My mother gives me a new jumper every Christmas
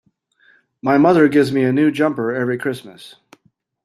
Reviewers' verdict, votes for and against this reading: accepted, 2, 0